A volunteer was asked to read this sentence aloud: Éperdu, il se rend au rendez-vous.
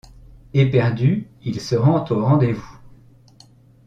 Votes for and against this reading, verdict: 2, 0, accepted